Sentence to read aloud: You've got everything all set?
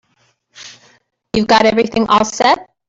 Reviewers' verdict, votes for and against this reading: accepted, 2, 1